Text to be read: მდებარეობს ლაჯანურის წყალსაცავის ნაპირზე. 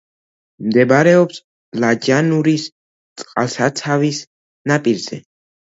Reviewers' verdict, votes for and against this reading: accepted, 2, 0